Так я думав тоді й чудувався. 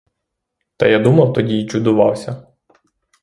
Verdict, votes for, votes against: rejected, 0, 3